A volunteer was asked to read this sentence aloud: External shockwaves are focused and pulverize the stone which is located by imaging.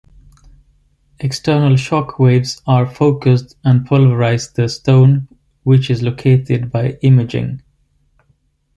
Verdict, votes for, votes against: accepted, 2, 0